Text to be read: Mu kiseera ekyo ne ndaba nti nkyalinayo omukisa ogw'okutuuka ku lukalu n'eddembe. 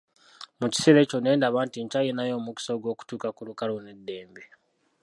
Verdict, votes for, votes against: rejected, 0, 2